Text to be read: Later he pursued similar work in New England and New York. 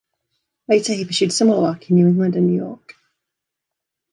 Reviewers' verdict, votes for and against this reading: accepted, 2, 1